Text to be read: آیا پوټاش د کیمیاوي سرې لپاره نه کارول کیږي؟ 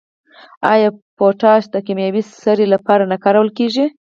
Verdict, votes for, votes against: rejected, 0, 4